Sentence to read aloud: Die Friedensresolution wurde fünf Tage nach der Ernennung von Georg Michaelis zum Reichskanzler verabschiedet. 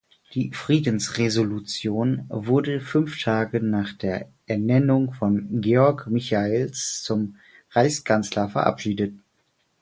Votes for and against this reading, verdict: 4, 2, accepted